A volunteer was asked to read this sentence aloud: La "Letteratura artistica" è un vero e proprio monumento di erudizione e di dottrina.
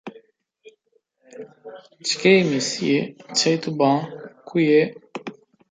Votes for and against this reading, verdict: 0, 2, rejected